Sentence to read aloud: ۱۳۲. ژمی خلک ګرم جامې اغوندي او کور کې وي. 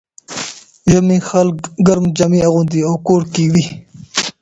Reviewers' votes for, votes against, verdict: 0, 2, rejected